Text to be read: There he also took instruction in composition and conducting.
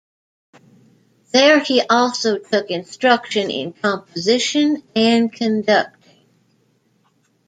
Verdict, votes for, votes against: rejected, 0, 2